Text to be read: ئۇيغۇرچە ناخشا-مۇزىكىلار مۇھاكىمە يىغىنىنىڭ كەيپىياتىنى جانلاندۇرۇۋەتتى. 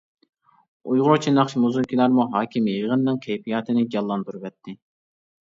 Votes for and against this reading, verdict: 0, 2, rejected